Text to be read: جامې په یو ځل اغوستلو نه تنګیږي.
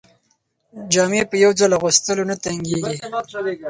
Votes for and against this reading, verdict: 4, 0, accepted